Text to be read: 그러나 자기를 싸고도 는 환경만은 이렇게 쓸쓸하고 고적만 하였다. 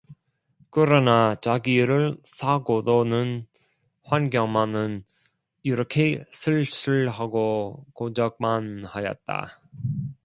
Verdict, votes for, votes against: rejected, 0, 2